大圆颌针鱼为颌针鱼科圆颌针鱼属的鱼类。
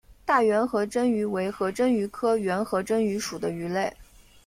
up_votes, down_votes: 2, 0